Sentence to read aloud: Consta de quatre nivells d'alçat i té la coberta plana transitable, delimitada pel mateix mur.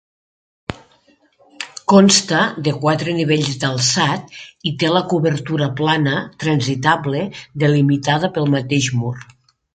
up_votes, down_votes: 1, 2